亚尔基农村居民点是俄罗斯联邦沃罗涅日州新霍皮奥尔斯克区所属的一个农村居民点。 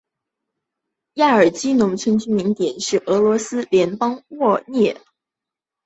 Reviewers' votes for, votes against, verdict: 2, 0, accepted